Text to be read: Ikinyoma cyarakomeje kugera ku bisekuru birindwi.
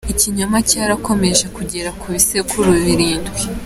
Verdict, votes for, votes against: accepted, 2, 0